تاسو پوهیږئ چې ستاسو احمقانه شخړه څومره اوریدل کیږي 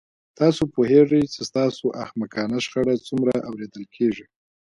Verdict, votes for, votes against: rejected, 0, 3